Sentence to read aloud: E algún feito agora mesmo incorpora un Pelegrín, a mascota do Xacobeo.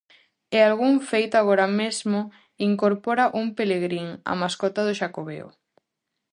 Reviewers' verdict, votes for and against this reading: accepted, 2, 0